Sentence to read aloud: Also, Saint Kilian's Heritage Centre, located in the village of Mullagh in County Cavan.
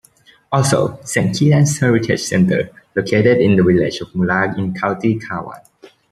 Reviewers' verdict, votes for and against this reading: rejected, 1, 2